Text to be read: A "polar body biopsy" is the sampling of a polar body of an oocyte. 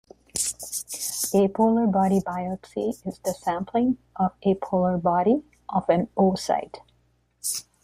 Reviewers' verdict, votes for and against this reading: rejected, 1, 2